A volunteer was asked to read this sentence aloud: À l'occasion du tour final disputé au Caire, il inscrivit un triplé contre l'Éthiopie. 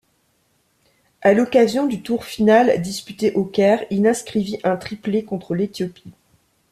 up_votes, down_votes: 2, 0